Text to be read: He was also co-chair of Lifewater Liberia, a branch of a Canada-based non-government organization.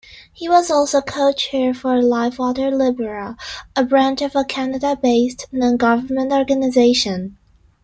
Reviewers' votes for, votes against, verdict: 2, 1, accepted